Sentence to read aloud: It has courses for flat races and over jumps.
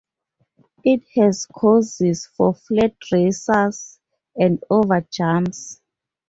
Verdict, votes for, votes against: rejected, 0, 2